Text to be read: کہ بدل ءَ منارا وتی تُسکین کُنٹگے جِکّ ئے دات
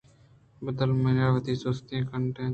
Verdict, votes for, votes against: accepted, 2, 0